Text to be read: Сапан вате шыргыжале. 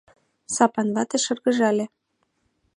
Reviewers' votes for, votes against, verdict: 2, 0, accepted